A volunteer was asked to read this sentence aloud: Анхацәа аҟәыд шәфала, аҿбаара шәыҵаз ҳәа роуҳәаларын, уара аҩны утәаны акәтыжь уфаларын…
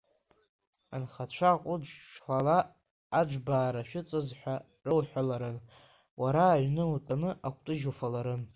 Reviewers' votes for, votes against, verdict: 3, 4, rejected